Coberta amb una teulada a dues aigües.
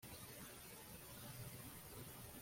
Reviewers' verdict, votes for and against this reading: rejected, 0, 2